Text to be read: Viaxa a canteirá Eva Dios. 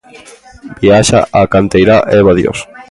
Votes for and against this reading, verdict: 2, 0, accepted